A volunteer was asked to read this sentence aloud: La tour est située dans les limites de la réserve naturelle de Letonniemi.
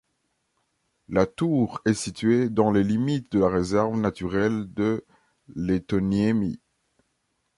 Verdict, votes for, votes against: accepted, 2, 0